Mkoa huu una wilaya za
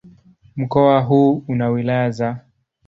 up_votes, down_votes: 2, 0